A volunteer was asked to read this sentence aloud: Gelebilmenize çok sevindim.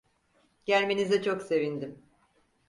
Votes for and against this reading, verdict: 0, 4, rejected